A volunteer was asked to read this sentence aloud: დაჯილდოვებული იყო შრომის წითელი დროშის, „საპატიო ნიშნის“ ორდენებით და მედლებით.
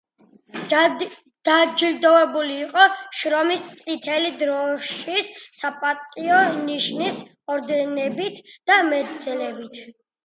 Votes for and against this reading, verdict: 1, 2, rejected